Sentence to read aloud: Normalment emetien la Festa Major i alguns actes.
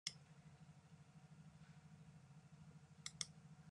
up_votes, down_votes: 0, 2